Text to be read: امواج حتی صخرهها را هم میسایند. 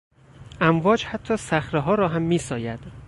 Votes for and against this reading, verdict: 2, 4, rejected